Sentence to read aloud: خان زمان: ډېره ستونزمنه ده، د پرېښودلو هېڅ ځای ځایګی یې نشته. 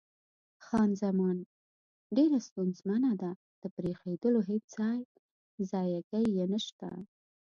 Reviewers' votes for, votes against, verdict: 2, 1, accepted